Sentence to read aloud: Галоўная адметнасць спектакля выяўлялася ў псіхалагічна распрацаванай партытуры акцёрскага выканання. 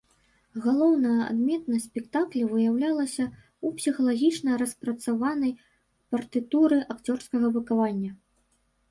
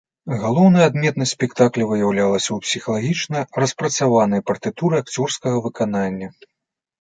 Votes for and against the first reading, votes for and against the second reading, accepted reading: 1, 2, 2, 1, second